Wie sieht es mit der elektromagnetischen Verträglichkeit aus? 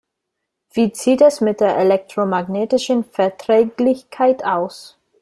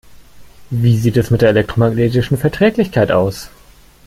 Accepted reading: second